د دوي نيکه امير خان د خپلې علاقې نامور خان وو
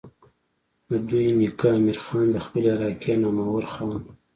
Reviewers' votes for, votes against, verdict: 2, 0, accepted